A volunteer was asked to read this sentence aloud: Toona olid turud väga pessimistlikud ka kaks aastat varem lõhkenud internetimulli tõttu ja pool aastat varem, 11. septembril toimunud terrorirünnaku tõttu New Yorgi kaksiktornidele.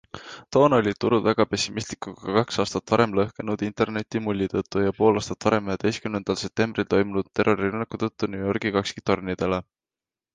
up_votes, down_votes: 0, 2